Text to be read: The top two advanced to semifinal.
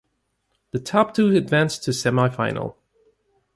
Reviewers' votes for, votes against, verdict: 4, 0, accepted